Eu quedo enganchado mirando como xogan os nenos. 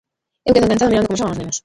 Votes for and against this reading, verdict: 0, 2, rejected